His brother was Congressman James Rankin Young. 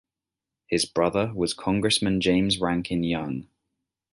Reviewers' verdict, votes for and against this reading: accepted, 2, 0